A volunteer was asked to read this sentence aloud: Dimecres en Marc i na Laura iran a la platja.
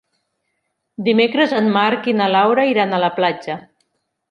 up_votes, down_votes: 4, 0